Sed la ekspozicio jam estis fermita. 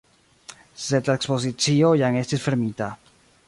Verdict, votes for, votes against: accepted, 2, 1